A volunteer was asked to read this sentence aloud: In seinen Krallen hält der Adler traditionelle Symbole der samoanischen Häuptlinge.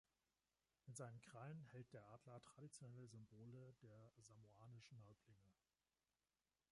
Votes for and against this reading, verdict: 2, 1, accepted